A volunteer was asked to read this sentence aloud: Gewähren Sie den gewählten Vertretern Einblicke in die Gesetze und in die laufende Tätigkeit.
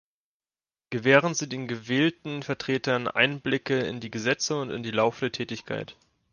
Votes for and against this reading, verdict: 2, 1, accepted